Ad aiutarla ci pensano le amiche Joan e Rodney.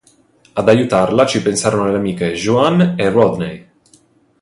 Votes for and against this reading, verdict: 1, 2, rejected